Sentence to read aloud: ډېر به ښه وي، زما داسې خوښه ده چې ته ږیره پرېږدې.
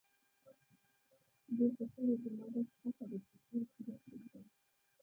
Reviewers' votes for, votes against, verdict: 1, 3, rejected